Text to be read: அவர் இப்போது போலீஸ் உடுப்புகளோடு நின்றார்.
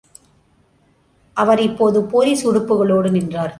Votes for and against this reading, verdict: 2, 0, accepted